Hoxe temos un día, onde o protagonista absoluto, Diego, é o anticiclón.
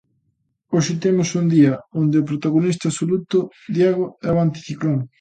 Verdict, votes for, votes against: accepted, 2, 0